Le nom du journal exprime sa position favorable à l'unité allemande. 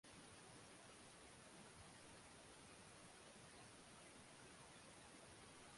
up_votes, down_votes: 0, 2